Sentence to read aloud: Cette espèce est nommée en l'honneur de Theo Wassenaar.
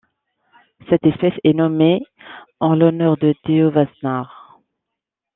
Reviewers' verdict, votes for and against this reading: accepted, 2, 0